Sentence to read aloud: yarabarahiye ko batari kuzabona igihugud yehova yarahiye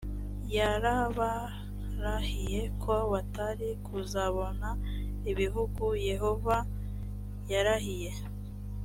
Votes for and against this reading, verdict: 2, 0, accepted